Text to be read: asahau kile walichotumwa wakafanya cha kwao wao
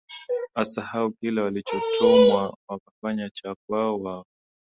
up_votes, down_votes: 6, 4